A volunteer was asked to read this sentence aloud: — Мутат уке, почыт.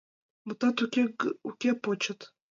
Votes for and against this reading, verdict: 1, 2, rejected